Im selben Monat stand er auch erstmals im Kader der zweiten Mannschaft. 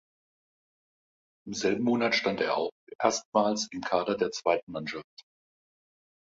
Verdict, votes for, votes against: rejected, 1, 2